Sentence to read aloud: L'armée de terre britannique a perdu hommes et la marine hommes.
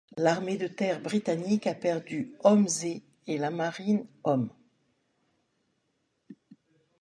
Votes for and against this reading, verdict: 1, 4, rejected